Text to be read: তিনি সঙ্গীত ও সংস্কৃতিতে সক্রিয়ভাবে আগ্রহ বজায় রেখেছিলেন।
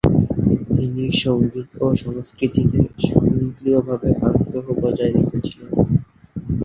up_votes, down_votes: 0, 2